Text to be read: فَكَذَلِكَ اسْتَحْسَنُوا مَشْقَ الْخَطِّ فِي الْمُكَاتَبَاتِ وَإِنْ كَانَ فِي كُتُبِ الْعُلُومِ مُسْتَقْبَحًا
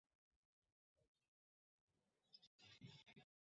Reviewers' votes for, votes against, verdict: 0, 2, rejected